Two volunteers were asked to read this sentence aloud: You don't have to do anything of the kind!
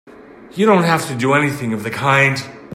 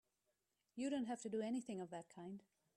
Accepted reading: first